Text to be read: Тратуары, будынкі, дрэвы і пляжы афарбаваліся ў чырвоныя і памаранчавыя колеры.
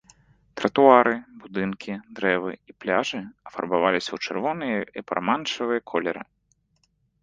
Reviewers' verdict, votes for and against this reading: rejected, 0, 2